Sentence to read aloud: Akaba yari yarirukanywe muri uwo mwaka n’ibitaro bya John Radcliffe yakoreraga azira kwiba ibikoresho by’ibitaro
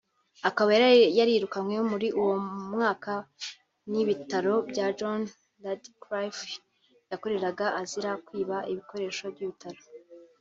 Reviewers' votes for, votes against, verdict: 2, 0, accepted